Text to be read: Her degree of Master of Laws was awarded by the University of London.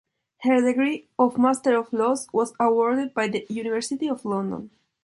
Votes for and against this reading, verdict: 3, 0, accepted